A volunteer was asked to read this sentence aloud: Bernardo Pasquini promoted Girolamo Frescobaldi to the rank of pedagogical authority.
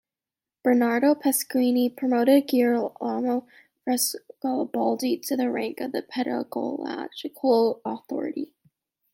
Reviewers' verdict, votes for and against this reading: rejected, 1, 2